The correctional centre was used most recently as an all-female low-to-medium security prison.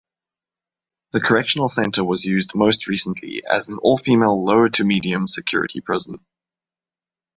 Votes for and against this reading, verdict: 2, 0, accepted